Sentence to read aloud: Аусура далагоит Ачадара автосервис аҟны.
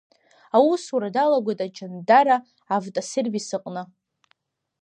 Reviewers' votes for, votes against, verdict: 1, 2, rejected